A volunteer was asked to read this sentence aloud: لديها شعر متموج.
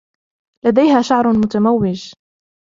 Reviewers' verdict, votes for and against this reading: accepted, 2, 0